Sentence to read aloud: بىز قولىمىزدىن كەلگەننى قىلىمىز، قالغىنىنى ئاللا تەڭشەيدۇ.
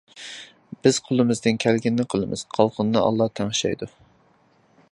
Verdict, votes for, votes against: rejected, 1, 2